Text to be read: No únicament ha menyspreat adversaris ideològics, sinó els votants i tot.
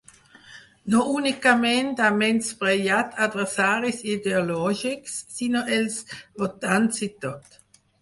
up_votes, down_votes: 2, 4